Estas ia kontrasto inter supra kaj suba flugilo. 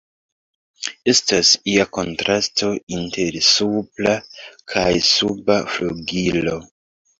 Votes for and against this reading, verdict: 2, 0, accepted